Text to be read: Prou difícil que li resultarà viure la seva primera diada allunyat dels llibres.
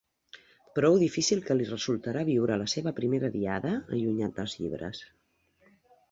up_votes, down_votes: 1, 2